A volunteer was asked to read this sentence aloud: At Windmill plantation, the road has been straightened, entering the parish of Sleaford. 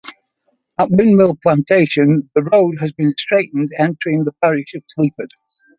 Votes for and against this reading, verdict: 2, 0, accepted